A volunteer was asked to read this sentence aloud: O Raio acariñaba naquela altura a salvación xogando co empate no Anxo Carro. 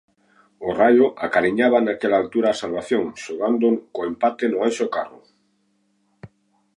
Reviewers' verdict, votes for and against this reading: accepted, 2, 0